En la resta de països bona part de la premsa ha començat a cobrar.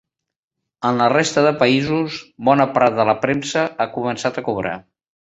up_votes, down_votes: 0, 2